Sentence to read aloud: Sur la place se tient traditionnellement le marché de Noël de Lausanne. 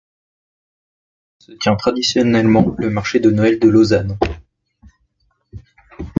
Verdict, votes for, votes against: rejected, 1, 2